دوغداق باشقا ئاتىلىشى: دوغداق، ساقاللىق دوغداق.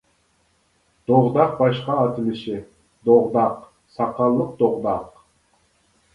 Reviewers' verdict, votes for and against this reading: accepted, 2, 0